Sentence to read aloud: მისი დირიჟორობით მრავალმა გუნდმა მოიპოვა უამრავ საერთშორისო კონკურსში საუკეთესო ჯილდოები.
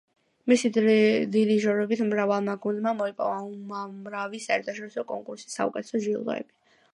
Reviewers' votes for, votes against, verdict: 1, 2, rejected